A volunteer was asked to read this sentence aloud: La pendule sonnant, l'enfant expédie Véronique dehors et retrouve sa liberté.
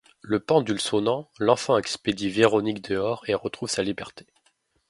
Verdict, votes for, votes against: rejected, 0, 2